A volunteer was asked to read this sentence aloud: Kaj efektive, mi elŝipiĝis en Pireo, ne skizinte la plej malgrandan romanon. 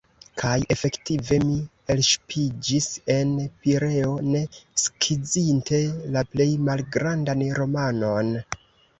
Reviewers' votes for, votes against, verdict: 2, 0, accepted